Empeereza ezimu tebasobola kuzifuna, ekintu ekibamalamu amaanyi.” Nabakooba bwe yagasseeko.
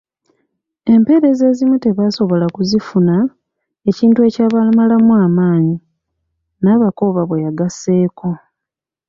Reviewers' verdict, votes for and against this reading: rejected, 1, 2